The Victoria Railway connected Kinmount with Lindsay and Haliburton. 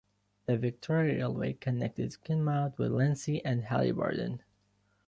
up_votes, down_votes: 1, 2